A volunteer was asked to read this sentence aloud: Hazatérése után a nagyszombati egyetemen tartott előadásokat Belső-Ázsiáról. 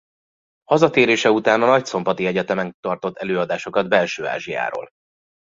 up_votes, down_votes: 2, 0